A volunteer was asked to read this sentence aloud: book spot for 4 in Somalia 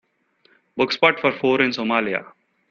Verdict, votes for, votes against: rejected, 0, 2